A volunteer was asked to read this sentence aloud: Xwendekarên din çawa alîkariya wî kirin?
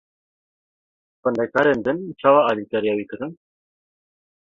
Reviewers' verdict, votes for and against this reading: accepted, 2, 0